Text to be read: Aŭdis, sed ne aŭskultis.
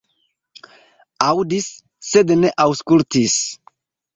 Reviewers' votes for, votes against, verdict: 2, 1, accepted